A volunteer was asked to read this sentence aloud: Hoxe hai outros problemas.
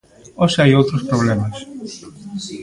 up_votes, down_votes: 2, 0